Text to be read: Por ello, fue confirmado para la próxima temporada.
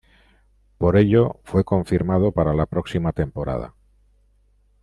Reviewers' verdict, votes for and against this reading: accepted, 2, 0